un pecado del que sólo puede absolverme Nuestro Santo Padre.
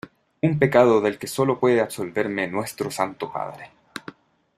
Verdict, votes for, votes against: accepted, 2, 0